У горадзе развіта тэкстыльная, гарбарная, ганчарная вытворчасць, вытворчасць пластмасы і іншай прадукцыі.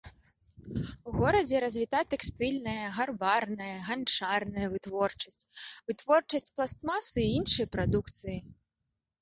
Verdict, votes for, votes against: rejected, 0, 2